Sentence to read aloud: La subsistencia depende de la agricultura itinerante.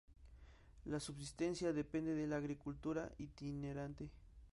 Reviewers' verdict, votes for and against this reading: accepted, 2, 0